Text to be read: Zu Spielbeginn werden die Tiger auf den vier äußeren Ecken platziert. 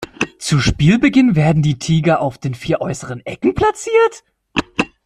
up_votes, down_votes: 2, 1